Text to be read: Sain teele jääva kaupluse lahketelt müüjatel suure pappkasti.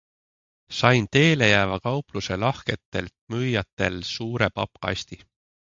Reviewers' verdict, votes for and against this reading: accepted, 3, 0